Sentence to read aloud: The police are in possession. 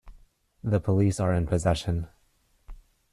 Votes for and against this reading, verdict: 2, 0, accepted